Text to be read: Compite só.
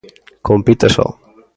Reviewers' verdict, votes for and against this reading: accepted, 2, 0